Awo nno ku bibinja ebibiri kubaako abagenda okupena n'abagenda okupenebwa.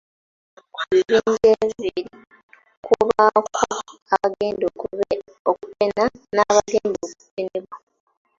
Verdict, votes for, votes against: rejected, 1, 2